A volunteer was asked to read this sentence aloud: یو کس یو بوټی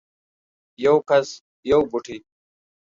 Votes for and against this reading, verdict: 2, 0, accepted